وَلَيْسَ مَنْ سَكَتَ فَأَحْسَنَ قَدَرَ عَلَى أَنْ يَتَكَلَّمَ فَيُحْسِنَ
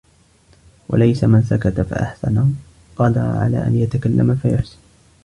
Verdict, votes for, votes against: rejected, 1, 2